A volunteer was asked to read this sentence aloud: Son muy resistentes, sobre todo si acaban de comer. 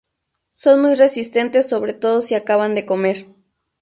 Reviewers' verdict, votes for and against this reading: accepted, 6, 0